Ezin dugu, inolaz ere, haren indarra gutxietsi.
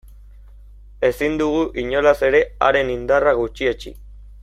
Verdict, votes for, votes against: accepted, 2, 0